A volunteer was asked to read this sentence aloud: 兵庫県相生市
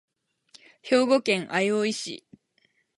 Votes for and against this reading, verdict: 4, 0, accepted